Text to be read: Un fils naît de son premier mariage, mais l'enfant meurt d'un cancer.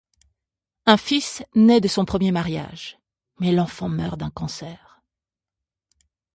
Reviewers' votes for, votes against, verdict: 2, 0, accepted